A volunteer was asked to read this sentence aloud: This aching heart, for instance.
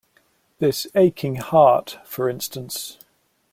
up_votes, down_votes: 2, 0